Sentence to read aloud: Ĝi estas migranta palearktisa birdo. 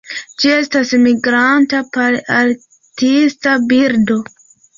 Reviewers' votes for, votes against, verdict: 2, 1, accepted